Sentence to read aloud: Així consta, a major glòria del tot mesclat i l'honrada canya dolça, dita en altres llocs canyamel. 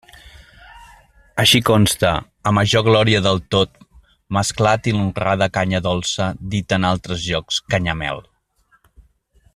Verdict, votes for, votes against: accepted, 2, 0